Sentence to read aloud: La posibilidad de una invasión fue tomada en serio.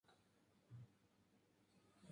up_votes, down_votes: 0, 4